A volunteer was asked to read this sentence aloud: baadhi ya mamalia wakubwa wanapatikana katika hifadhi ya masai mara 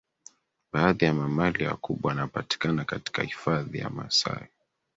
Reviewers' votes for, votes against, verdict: 3, 2, accepted